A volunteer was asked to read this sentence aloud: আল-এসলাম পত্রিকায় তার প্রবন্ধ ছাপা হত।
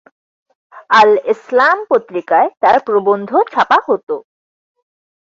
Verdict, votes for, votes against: accepted, 68, 12